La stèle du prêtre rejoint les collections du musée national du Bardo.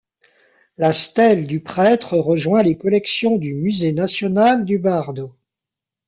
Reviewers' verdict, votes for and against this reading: accepted, 2, 0